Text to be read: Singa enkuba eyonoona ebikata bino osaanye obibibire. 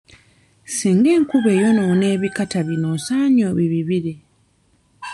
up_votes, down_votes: 1, 2